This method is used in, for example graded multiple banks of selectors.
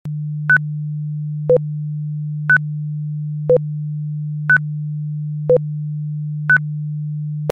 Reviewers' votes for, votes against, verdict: 0, 3, rejected